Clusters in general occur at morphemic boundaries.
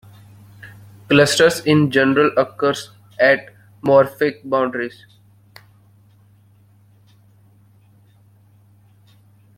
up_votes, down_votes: 0, 2